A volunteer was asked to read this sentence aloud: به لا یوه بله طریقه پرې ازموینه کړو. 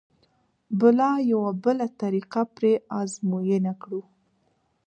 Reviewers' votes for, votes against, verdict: 2, 1, accepted